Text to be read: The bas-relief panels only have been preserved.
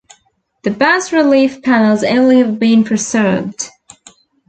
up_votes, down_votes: 3, 1